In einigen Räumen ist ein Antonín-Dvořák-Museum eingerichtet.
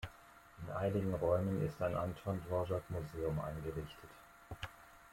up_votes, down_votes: 1, 2